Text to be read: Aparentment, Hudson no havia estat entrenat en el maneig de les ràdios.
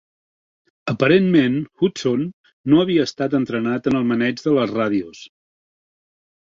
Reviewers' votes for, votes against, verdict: 2, 0, accepted